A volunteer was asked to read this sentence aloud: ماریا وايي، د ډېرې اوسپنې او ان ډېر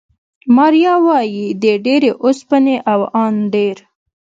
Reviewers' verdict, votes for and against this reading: accepted, 2, 0